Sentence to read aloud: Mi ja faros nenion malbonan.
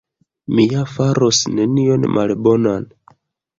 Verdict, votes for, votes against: rejected, 1, 2